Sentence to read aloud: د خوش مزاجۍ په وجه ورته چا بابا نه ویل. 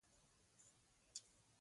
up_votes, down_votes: 2, 0